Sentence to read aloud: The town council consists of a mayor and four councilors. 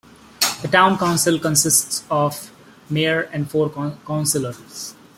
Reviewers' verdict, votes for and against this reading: rejected, 0, 2